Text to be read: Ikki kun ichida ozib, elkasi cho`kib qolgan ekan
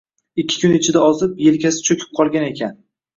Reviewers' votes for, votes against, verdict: 1, 2, rejected